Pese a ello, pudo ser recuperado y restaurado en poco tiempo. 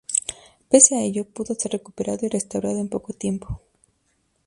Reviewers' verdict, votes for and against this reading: accepted, 2, 0